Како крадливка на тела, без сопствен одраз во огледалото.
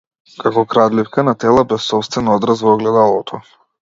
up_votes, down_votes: 2, 0